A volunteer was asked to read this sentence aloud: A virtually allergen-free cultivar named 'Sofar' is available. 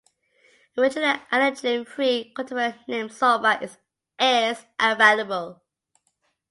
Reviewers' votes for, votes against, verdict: 0, 2, rejected